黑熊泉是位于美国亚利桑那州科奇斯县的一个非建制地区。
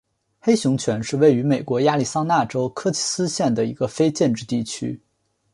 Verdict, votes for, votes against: accepted, 2, 0